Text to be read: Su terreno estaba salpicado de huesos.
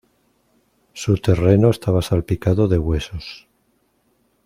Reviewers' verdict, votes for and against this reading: accepted, 2, 0